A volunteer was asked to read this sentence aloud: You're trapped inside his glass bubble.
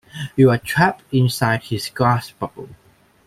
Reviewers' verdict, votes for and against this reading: rejected, 1, 2